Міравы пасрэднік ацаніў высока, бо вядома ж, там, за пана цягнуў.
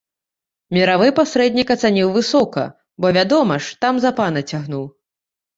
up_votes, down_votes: 2, 0